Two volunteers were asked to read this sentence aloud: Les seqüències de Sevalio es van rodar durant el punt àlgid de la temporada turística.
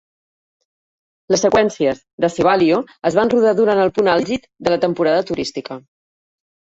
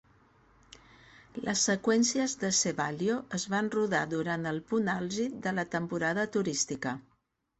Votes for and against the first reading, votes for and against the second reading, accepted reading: 1, 2, 2, 0, second